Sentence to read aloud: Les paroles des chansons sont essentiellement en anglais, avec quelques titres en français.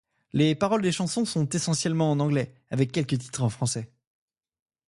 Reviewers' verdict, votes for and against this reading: accepted, 2, 0